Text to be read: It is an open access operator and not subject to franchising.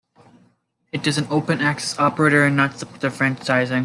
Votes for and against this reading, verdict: 2, 1, accepted